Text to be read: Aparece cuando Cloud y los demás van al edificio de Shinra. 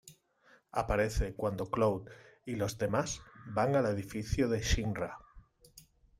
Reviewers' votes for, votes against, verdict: 1, 2, rejected